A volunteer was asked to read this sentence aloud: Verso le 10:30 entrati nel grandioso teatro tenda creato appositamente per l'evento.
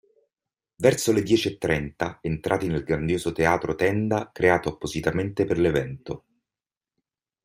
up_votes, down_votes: 0, 2